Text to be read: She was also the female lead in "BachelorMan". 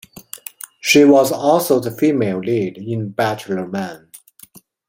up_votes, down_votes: 2, 0